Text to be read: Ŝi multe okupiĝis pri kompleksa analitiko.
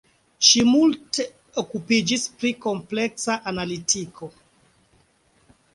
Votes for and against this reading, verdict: 2, 1, accepted